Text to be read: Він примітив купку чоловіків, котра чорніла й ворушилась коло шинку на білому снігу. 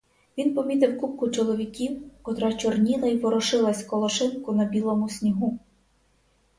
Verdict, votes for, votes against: rejected, 0, 2